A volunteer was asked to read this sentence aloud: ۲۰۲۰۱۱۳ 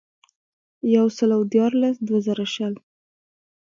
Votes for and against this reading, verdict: 0, 2, rejected